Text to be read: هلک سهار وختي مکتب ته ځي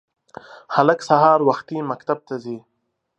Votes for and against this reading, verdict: 2, 0, accepted